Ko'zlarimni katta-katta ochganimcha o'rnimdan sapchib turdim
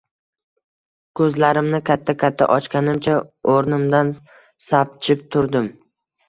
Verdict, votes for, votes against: accepted, 2, 0